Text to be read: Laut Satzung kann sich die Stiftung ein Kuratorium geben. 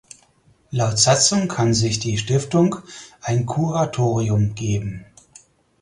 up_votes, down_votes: 4, 0